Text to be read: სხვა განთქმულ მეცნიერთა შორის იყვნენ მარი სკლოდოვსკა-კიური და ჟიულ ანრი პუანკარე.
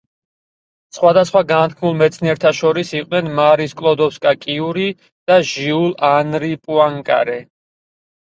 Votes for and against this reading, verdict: 4, 0, accepted